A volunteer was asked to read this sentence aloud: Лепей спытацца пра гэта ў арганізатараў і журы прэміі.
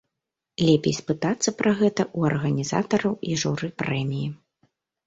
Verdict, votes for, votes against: accepted, 3, 0